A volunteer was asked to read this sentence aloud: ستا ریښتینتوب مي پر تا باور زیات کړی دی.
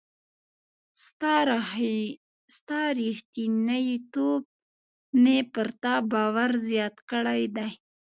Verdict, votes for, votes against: rejected, 0, 2